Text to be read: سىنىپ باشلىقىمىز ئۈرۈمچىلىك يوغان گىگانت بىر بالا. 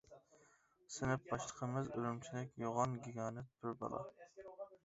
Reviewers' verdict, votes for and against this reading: accepted, 2, 0